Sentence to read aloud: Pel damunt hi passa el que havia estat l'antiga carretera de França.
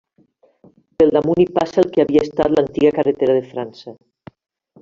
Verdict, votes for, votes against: accepted, 2, 0